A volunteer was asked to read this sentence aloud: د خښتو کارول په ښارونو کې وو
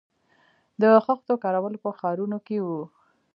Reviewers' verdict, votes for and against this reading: rejected, 1, 2